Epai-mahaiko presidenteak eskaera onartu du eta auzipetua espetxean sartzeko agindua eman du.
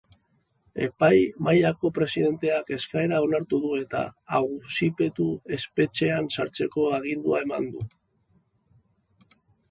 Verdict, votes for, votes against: rejected, 0, 3